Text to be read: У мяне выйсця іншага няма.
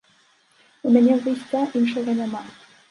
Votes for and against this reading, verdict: 0, 2, rejected